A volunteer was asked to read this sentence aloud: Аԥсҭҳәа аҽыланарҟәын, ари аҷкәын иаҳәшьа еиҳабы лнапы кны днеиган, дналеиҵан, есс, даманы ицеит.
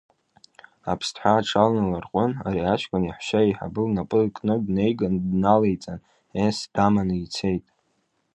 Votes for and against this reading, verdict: 2, 0, accepted